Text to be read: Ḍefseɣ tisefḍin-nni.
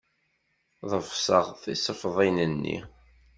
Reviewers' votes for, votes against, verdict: 2, 0, accepted